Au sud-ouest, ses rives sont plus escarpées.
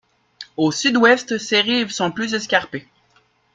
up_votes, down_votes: 2, 0